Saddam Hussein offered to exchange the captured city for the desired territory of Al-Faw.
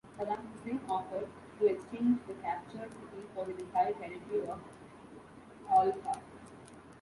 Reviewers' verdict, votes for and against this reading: rejected, 0, 2